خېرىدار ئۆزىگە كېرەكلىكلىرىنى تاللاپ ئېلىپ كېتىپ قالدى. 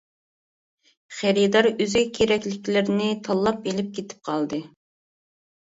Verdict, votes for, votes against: rejected, 1, 2